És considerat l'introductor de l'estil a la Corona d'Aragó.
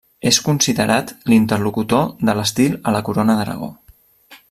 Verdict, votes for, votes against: rejected, 0, 2